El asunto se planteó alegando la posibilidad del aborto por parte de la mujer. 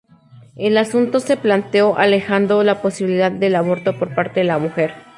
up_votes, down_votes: 0, 4